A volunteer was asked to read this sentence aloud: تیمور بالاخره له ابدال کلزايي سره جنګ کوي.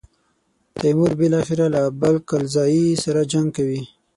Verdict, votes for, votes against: accepted, 6, 0